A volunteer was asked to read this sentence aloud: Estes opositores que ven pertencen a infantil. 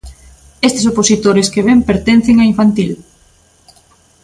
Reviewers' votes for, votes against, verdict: 2, 0, accepted